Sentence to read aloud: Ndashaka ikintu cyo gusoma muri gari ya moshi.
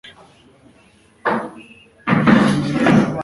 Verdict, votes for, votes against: rejected, 0, 2